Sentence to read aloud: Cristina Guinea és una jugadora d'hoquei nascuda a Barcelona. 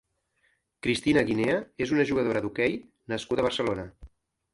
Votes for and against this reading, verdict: 3, 0, accepted